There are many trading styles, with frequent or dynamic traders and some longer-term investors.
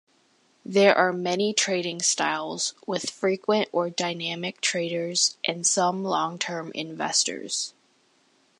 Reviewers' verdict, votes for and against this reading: rejected, 0, 2